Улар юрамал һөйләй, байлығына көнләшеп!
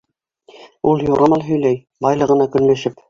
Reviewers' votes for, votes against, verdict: 1, 2, rejected